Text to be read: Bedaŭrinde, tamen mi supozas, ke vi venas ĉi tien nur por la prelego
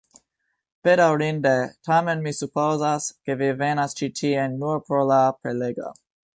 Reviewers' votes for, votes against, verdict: 2, 0, accepted